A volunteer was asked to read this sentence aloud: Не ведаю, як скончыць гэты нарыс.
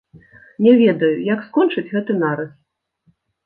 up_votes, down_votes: 2, 0